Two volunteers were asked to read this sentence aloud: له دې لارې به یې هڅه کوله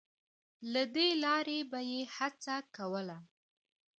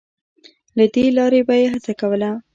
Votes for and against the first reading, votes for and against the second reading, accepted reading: 2, 0, 1, 2, first